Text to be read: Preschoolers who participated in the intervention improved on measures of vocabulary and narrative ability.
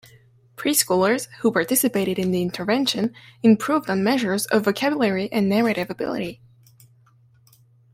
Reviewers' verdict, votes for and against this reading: accepted, 2, 0